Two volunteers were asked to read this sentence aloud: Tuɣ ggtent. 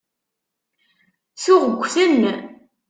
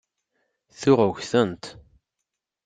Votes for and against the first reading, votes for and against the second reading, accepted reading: 1, 2, 2, 0, second